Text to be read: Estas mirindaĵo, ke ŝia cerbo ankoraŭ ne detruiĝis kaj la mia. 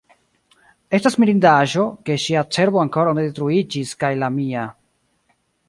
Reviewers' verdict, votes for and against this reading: accepted, 2, 0